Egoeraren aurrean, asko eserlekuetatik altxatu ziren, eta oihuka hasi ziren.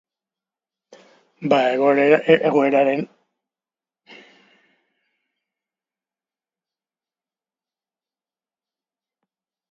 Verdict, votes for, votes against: rejected, 0, 2